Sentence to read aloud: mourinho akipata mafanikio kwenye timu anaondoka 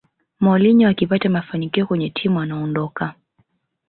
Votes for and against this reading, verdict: 3, 2, accepted